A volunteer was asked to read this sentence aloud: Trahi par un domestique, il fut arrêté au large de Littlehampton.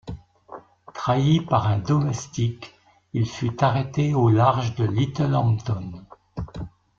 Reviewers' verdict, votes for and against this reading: accepted, 2, 0